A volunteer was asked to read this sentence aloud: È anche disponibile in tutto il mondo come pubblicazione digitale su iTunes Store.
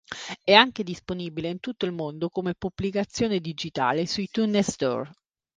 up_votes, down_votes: 0, 2